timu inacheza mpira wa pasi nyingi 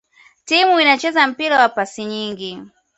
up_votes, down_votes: 0, 2